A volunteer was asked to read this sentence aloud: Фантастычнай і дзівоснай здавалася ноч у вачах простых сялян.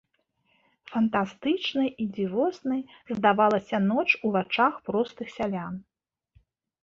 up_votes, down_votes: 2, 0